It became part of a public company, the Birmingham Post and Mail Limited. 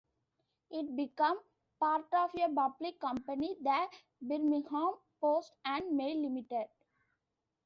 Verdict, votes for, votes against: rejected, 0, 2